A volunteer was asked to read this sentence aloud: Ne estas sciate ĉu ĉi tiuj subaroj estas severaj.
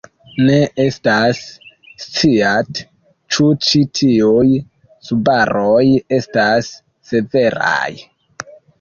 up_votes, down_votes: 1, 2